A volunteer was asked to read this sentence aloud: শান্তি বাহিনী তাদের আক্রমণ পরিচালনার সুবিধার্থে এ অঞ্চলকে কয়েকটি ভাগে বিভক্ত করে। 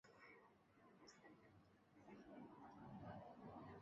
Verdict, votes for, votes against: rejected, 0, 2